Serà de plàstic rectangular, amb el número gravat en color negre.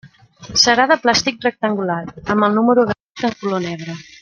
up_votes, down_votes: 0, 2